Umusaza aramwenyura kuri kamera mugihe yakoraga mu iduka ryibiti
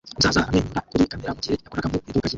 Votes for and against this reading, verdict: 0, 2, rejected